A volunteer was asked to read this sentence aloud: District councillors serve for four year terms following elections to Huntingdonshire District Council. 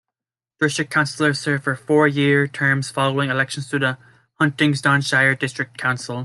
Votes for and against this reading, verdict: 2, 3, rejected